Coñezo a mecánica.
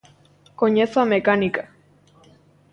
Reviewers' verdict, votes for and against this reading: accepted, 2, 0